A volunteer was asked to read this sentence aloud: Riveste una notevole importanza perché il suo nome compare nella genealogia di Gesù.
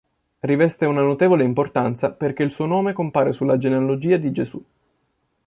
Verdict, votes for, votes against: rejected, 0, 2